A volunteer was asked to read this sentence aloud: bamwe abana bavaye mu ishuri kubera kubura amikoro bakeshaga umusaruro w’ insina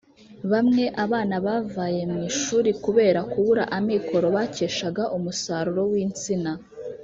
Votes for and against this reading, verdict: 0, 2, rejected